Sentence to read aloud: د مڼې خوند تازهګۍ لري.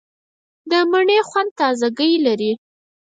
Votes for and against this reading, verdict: 2, 4, rejected